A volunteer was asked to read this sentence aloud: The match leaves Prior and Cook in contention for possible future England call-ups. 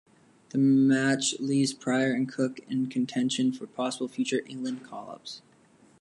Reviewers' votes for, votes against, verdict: 2, 0, accepted